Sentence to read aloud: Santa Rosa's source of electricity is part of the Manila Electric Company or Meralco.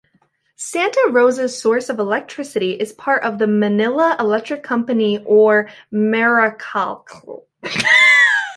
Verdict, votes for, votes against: rejected, 0, 2